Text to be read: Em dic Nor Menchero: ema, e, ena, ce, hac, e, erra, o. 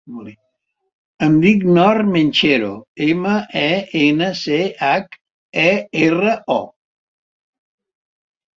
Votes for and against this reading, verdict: 2, 0, accepted